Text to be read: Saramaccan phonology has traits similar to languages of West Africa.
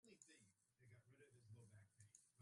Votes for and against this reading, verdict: 0, 2, rejected